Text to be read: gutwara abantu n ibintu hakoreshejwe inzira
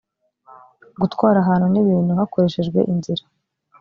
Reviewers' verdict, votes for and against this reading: rejected, 1, 2